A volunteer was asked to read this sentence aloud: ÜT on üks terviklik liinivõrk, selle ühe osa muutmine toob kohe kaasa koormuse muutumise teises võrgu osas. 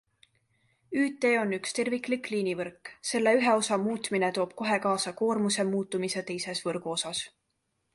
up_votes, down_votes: 2, 0